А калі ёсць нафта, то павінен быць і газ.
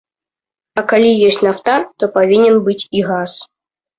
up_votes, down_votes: 0, 2